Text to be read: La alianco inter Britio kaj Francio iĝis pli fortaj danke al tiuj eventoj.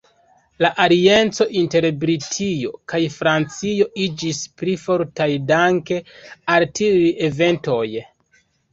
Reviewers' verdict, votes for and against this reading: rejected, 0, 2